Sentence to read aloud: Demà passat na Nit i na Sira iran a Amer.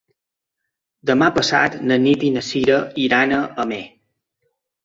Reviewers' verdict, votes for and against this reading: accepted, 3, 0